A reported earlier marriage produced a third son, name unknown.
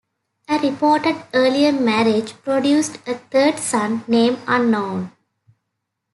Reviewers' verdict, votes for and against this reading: accepted, 2, 0